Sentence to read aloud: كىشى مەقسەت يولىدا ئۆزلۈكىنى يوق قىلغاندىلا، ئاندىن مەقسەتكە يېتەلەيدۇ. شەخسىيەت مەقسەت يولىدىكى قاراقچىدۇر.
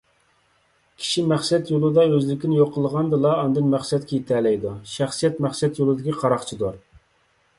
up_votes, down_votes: 2, 0